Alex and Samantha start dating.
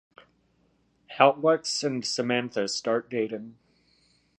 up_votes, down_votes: 2, 1